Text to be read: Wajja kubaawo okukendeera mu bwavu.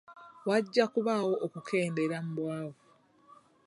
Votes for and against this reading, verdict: 2, 0, accepted